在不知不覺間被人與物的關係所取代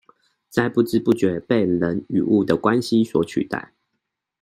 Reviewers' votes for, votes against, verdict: 0, 2, rejected